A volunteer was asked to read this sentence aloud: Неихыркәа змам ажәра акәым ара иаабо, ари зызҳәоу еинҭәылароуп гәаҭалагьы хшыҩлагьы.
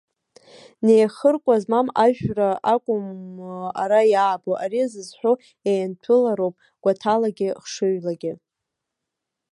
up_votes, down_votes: 0, 2